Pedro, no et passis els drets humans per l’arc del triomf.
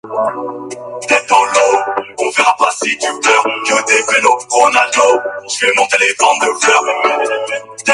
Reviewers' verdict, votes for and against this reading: rejected, 1, 4